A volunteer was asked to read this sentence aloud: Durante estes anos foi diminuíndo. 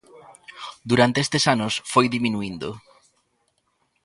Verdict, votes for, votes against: accepted, 2, 0